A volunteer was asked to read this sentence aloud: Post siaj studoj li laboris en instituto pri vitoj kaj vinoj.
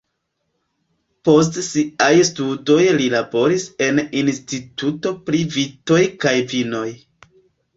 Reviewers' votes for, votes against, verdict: 0, 2, rejected